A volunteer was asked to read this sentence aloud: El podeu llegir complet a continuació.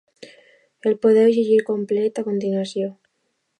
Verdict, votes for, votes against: accepted, 2, 0